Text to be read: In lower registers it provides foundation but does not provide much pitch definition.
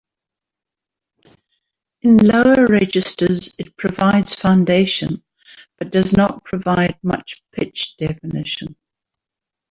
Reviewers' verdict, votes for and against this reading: accepted, 2, 0